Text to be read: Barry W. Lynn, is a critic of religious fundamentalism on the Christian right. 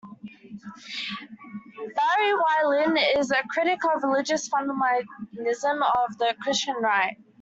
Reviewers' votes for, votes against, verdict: 0, 2, rejected